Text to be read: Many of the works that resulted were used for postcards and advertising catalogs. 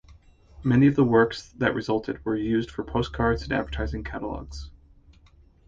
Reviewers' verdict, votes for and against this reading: rejected, 0, 2